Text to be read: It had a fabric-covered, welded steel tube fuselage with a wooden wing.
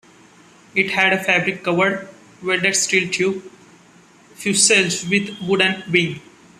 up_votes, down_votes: 0, 3